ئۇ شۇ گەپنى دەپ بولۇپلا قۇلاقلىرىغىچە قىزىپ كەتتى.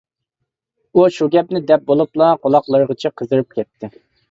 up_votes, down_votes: 1, 2